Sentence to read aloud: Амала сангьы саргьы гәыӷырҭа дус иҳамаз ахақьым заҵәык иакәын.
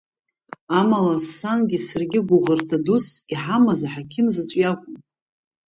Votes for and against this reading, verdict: 3, 1, accepted